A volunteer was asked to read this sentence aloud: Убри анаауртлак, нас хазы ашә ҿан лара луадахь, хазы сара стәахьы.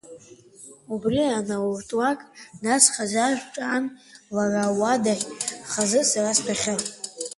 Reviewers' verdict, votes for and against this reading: accepted, 2, 0